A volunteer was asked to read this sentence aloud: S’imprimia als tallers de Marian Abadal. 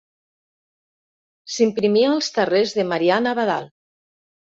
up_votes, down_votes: 1, 2